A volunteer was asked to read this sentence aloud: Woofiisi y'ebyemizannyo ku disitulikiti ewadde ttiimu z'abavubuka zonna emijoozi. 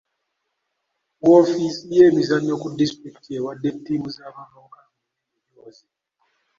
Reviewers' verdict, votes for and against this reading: rejected, 0, 2